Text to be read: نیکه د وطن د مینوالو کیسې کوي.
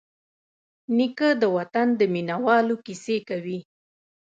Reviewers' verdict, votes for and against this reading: rejected, 1, 2